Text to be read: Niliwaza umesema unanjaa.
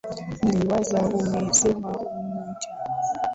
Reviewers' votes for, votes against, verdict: 0, 2, rejected